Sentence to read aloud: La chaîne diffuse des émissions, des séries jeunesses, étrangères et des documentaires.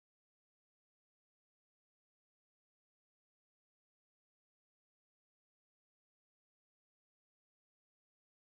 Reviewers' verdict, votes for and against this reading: rejected, 0, 2